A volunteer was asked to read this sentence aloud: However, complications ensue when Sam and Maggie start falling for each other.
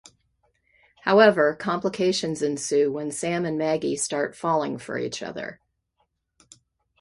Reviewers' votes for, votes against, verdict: 2, 0, accepted